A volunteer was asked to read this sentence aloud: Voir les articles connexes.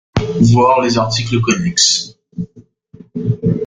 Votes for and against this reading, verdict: 2, 1, accepted